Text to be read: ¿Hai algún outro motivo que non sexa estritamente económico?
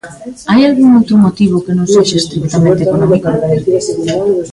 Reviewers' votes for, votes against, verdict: 0, 2, rejected